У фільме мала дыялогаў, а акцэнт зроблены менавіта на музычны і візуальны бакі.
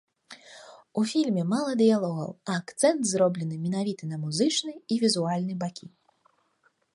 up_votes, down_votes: 2, 0